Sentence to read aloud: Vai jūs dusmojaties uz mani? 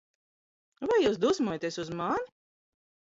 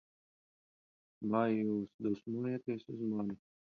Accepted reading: second